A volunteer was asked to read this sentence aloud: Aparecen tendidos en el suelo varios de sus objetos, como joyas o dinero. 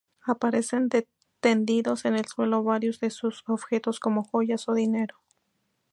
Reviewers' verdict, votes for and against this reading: rejected, 0, 2